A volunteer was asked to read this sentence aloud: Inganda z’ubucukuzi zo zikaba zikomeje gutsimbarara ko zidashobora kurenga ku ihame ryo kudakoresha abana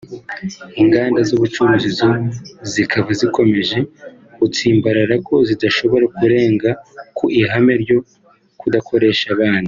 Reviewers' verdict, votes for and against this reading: rejected, 1, 2